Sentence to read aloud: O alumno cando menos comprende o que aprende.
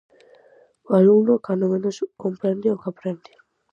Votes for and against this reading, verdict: 2, 2, rejected